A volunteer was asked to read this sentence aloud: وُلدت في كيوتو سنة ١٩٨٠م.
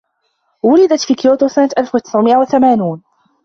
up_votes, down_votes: 0, 2